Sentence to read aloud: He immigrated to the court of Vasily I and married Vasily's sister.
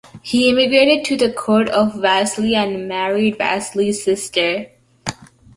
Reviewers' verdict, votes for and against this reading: accepted, 2, 1